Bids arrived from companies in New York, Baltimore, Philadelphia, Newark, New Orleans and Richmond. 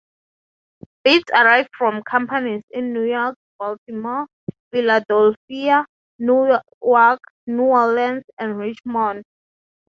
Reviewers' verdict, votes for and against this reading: rejected, 3, 3